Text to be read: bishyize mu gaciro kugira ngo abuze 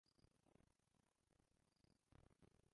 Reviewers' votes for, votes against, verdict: 0, 2, rejected